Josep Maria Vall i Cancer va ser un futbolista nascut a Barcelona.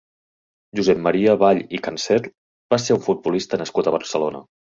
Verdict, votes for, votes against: accepted, 2, 0